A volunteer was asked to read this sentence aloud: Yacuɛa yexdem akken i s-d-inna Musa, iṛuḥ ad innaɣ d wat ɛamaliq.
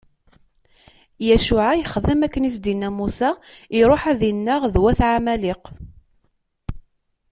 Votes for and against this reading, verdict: 2, 0, accepted